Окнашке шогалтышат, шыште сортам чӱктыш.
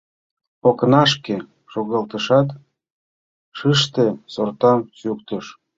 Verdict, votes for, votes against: rejected, 1, 2